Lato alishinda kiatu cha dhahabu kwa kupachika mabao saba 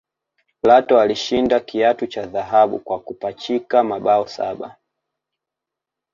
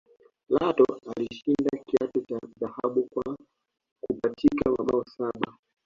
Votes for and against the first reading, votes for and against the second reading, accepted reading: 2, 1, 0, 2, first